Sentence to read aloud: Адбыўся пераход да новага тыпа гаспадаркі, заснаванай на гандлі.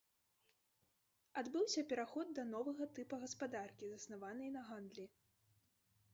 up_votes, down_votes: 1, 2